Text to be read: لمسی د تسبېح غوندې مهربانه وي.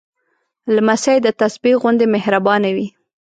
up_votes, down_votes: 2, 0